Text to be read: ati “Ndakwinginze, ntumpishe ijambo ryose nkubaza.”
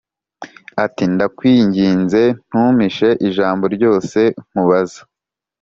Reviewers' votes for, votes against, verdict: 3, 0, accepted